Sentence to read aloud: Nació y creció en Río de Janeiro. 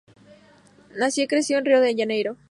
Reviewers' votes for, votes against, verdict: 2, 0, accepted